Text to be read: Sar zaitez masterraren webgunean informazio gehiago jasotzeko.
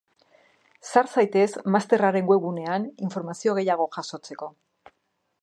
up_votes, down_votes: 2, 2